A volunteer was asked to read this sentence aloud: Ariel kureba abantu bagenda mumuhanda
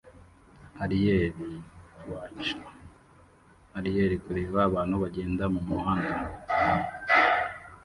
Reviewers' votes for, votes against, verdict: 0, 2, rejected